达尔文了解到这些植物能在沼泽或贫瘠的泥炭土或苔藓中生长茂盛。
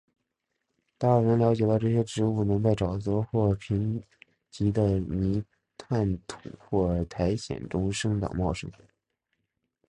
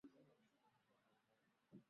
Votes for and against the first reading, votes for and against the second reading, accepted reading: 3, 2, 0, 4, first